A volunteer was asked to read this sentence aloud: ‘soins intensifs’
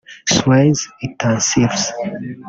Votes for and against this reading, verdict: 1, 2, rejected